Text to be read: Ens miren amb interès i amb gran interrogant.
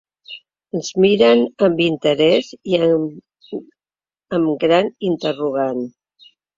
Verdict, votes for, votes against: rejected, 0, 2